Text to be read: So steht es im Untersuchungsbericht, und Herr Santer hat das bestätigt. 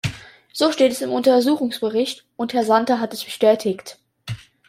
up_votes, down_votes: 2, 1